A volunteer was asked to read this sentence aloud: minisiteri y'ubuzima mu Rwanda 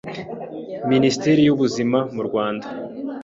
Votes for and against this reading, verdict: 2, 0, accepted